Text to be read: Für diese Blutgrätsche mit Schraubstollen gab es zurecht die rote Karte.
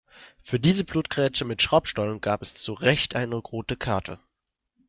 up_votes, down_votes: 0, 2